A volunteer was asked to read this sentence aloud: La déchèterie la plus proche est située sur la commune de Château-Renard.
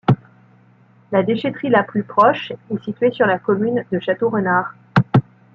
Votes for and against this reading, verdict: 2, 0, accepted